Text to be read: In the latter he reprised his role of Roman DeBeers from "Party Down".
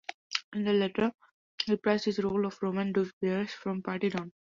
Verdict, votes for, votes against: rejected, 0, 2